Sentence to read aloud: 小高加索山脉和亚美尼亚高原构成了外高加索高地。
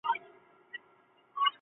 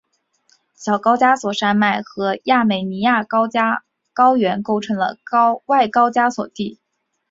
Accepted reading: first